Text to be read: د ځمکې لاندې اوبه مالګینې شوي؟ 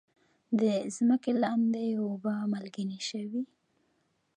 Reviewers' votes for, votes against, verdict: 0, 2, rejected